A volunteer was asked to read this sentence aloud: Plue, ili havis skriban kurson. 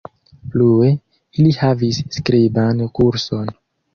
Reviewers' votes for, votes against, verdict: 1, 2, rejected